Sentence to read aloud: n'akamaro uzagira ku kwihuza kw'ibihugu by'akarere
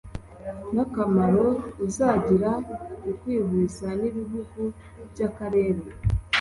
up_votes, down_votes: 1, 2